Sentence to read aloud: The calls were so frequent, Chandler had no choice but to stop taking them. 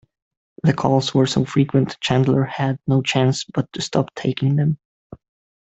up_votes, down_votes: 2, 1